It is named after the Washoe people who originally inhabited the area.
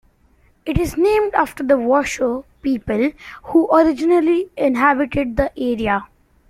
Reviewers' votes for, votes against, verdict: 3, 1, accepted